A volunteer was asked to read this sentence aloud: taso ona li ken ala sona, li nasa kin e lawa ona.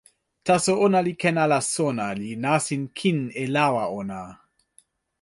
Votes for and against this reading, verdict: 1, 2, rejected